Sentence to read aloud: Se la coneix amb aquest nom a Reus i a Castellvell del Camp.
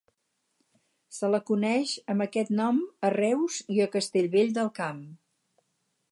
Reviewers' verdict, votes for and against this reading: accepted, 4, 0